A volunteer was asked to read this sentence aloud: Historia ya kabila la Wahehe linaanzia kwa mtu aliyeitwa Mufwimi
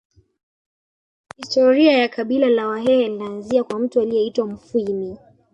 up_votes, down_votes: 1, 2